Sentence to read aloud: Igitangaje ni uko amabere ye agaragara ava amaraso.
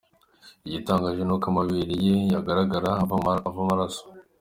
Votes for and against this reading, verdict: 2, 1, accepted